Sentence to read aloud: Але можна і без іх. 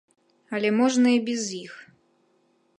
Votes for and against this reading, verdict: 2, 0, accepted